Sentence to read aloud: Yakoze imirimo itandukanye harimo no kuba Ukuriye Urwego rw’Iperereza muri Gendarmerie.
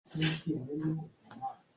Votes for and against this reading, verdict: 0, 2, rejected